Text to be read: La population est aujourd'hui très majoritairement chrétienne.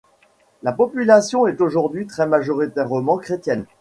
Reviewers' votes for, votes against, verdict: 2, 0, accepted